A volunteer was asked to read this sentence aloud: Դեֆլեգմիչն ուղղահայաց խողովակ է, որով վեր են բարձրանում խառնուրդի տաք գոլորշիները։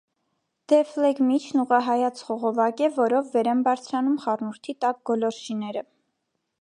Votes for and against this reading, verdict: 2, 0, accepted